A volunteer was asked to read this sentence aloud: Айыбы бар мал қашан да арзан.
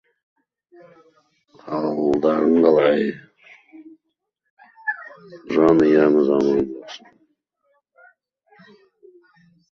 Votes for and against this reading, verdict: 0, 2, rejected